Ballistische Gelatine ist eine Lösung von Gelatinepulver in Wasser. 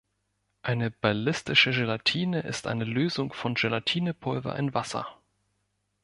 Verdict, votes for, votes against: rejected, 0, 2